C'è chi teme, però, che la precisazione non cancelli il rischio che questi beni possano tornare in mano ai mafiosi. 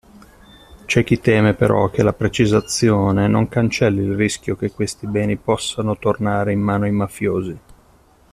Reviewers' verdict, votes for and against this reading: accepted, 2, 0